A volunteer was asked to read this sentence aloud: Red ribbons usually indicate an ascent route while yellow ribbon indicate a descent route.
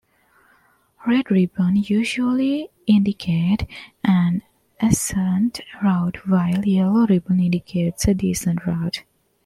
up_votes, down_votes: 1, 2